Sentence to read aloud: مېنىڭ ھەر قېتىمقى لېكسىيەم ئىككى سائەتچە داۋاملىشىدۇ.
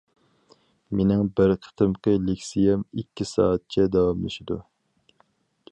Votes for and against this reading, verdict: 2, 2, rejected